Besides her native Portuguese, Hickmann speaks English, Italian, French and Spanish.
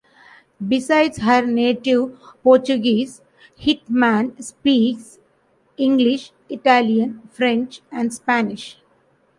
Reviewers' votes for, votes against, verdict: 0, 2, rejected